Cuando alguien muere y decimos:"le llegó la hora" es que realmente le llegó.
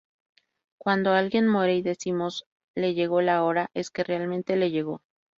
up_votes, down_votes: 0, 2